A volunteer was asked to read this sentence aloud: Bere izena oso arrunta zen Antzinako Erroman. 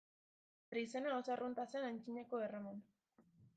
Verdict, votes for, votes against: accepted, 2, 1